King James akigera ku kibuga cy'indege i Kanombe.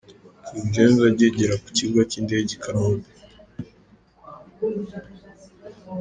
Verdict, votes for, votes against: accepted, 2, 0